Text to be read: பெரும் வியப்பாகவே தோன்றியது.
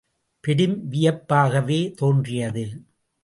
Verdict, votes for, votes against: accepted, 2, 0